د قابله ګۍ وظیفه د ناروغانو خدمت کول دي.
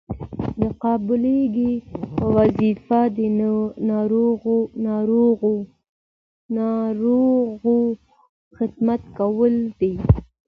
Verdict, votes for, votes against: rejected, 1, 2